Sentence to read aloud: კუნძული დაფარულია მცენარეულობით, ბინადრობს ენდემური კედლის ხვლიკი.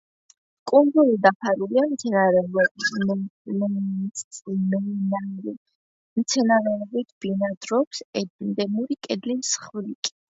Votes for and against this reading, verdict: 1, 2, rejected